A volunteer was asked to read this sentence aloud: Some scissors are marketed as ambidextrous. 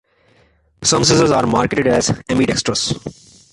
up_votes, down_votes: 0, 2